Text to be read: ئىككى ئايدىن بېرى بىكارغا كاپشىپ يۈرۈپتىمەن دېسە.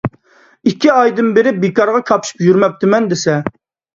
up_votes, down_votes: 0, 2